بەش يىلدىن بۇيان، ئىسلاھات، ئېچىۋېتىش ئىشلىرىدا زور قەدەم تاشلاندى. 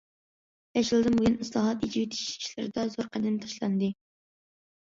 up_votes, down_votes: 2, 1